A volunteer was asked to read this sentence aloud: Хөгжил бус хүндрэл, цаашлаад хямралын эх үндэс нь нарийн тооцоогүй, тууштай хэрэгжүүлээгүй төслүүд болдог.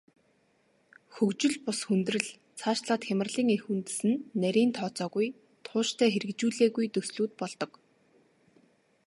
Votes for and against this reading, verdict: 1, 2, rejected